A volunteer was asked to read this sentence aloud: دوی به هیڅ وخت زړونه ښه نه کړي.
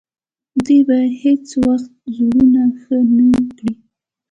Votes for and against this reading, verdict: 2, 0, accepted